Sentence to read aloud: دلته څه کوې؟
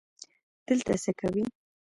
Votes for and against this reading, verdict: 0, 2, rejected